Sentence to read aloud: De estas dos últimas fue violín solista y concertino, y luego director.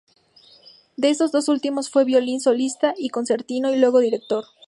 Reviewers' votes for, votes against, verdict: 2, 0, accepted